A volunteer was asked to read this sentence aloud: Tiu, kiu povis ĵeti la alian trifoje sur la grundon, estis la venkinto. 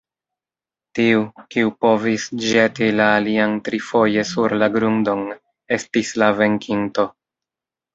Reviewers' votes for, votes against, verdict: 2, 1, accepted